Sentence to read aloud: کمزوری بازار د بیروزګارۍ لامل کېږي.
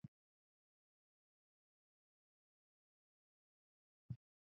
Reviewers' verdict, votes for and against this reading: rejected, 1, 2